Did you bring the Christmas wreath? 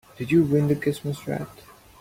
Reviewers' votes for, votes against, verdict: 2, 4, rejected